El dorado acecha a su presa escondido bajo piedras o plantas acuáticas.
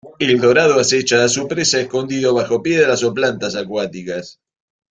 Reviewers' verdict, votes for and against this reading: accepted, 2, 0